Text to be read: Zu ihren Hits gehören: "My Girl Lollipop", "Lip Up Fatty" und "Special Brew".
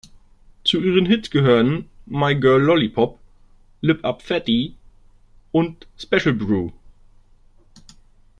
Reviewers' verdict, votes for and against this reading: accepted, 2, 0